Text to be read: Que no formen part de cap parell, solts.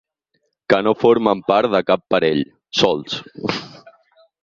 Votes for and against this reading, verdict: 4, 0, accepted